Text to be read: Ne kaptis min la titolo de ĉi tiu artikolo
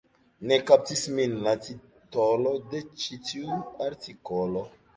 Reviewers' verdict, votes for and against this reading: rejected, 1, 2